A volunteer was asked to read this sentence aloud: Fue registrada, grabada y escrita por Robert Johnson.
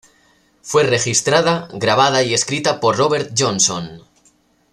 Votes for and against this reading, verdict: 2, 0, accepted